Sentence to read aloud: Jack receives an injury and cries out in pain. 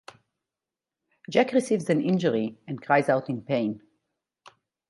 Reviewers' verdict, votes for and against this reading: rejected, 2, 2